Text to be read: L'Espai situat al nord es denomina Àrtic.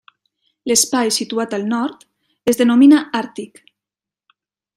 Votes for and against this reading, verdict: 2, 0, accepted